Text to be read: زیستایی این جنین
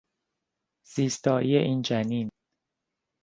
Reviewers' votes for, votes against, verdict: 2, 0, accepted